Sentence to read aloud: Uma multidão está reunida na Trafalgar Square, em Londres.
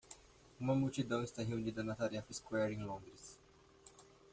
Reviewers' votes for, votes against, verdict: 1, 2, rejected